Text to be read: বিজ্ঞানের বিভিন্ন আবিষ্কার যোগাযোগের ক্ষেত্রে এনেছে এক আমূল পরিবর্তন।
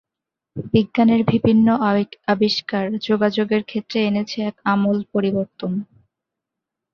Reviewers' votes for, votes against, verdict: 0, 2, rejected